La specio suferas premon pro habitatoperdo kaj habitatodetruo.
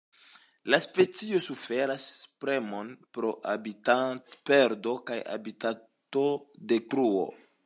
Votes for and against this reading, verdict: 0, 2, rejected